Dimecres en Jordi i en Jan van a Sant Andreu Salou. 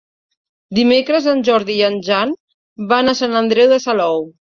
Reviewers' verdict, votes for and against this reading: rejected, 1, 2